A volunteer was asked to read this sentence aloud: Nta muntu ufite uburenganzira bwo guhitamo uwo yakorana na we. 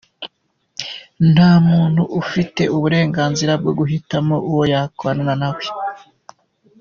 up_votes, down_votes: 2, 0